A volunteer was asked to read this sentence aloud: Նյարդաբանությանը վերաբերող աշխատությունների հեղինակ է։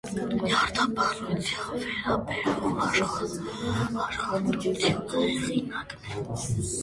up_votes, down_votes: 0, 2